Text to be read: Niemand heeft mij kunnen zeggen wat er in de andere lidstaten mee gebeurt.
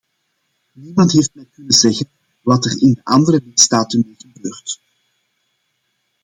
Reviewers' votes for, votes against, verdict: 0, 2, rejected